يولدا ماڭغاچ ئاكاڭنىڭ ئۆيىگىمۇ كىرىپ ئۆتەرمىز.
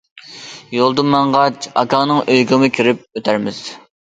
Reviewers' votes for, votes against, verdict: 2, 0, accepted